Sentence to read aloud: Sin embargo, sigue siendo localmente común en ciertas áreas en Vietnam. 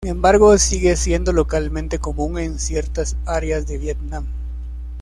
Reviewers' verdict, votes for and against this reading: rejected, 0, 2